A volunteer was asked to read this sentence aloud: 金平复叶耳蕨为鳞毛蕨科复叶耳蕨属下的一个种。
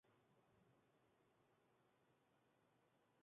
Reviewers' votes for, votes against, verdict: 1, 5, rejected